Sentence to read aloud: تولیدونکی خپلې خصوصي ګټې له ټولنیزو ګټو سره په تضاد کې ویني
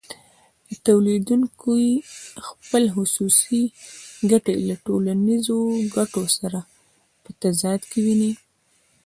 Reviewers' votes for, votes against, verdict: 1, 2, rejected